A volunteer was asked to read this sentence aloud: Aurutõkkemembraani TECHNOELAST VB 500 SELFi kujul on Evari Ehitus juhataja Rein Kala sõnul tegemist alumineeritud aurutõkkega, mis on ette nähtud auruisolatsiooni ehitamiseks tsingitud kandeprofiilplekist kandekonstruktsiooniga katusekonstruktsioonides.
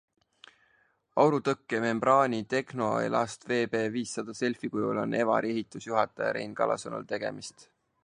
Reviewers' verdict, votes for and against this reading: rejected, 0, 2